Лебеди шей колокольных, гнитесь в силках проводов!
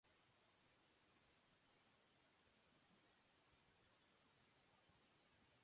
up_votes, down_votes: 0, 2